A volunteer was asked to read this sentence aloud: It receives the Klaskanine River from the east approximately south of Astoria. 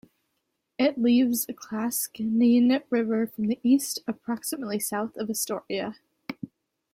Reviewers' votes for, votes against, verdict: 0, 2, rejected